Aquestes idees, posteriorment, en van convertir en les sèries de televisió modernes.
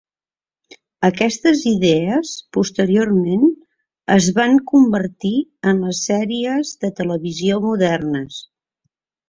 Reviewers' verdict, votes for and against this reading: rejected, 1, 2